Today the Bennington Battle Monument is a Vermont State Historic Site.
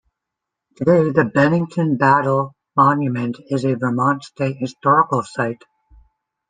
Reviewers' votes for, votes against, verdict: 0, 2, rejected